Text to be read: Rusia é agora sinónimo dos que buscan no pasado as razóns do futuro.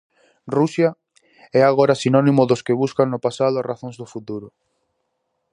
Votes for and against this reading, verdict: 2, 0, accepted